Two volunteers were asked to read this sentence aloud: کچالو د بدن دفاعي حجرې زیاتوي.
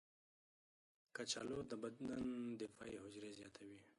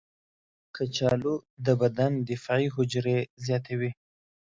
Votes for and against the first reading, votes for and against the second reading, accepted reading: 2, 3, 2, 0, second